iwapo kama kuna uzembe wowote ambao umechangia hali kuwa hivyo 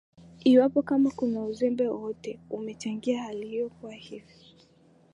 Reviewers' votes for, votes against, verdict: 0, 2, rejected